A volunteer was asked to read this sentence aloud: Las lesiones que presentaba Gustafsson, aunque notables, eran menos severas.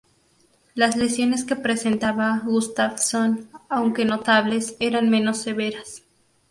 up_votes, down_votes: 2, 0